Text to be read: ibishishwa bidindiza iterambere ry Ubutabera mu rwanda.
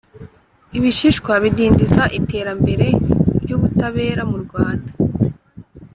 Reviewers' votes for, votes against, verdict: 3, 0, accepted